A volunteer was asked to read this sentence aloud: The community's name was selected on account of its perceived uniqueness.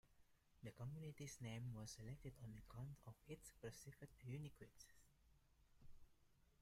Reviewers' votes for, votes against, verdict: 0, 2, rejected